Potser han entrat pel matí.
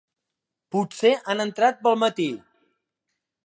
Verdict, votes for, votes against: accepted, 2, 0